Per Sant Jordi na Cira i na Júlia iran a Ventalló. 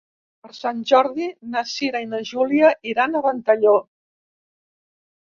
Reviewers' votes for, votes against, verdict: 2, 0, accepted